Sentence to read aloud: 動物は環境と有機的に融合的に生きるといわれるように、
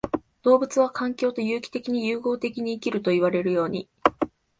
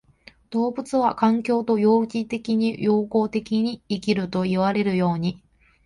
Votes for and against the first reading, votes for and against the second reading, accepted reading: 4, 0, 0, 2, first